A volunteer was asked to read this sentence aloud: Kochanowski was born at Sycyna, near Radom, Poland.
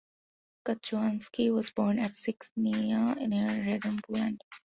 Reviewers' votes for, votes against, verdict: 0, 2, rejected